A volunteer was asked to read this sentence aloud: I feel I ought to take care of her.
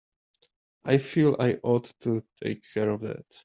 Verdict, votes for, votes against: rejected, 0, 2